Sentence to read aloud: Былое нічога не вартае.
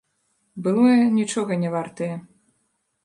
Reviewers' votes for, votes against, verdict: 1, 2, rejected